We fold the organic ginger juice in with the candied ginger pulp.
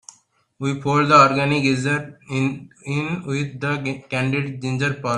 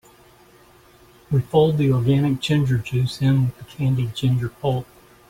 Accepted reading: second